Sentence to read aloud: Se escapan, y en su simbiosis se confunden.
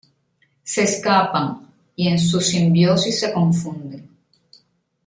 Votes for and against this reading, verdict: 0, 2, rejected